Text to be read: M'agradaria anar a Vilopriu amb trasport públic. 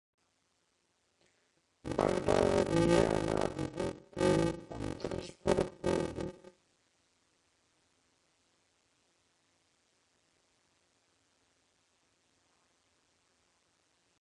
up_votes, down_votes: 0, 2